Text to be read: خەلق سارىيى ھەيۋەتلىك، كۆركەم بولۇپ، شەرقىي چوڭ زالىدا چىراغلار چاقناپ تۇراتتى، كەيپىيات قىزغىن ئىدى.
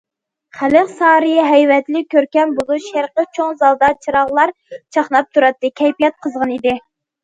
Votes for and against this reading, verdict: 1, 2, rejected